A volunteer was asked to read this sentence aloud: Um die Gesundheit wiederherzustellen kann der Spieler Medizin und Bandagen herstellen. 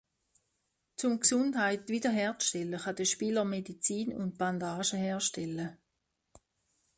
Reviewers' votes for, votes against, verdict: 0, 2, rejected